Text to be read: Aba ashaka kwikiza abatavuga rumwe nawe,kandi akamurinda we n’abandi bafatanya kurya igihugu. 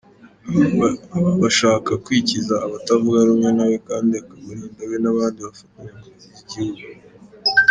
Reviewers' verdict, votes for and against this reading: rejected, 1, 2